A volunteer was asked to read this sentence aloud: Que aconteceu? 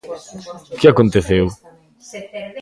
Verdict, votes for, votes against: rejected, 1, 2